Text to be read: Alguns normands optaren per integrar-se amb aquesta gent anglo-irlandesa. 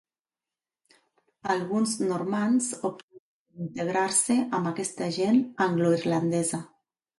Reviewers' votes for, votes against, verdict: 0, 2, rejected